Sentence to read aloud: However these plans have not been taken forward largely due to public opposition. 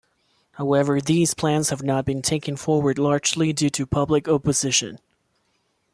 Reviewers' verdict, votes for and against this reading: accepted, 2, 0